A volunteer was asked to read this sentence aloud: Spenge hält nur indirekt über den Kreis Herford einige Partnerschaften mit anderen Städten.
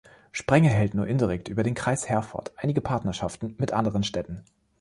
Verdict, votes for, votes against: rejected, 1, 2